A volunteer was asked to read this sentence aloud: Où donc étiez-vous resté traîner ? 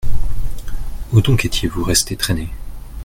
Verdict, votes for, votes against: accepted, 2, 0